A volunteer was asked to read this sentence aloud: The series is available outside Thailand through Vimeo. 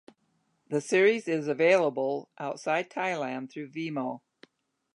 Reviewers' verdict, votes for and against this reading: rejected, 0, 2